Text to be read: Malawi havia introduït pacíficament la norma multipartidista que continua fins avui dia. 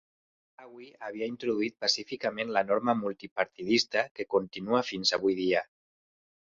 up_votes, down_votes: 1, 2